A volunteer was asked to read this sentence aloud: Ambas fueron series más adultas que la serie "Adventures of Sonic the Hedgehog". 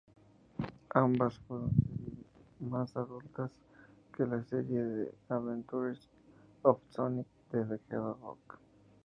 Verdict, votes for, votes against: rejected, 0, 2